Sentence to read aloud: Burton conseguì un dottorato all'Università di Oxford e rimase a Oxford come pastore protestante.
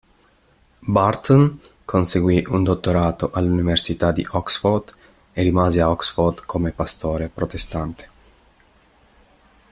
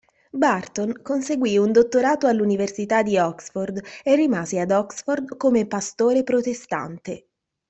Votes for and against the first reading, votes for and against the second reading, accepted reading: 4, 1, 1, 2, first